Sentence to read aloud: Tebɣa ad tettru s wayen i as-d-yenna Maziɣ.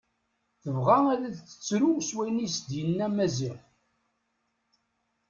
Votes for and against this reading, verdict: 1, 2, rejected